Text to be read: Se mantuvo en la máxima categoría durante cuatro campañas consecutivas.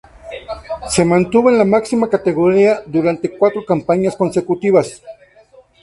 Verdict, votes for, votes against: rejected, 0, 2